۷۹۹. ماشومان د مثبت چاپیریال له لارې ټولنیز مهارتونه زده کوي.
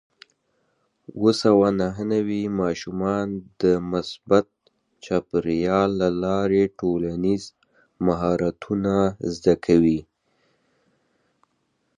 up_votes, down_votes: 0, 2